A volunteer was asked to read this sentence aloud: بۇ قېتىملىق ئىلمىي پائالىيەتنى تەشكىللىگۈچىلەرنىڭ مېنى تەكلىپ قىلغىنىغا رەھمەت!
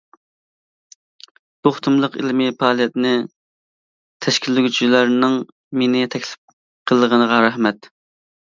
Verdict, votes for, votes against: rejected, 1, 2